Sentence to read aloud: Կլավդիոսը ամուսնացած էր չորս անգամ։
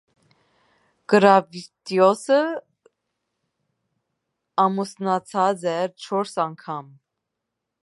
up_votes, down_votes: 2, 0